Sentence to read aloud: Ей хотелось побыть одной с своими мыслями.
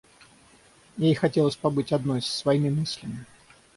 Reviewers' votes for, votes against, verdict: 6, 0, accepted